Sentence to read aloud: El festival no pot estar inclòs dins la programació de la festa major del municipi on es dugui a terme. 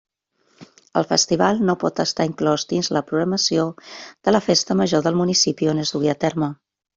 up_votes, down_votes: 2, 0